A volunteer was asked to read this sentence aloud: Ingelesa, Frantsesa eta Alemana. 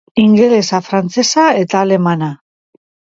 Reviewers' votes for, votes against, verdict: 5, 0, accepted